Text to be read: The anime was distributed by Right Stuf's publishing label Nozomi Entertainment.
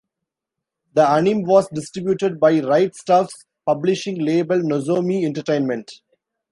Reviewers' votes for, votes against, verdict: 1, 2, rejected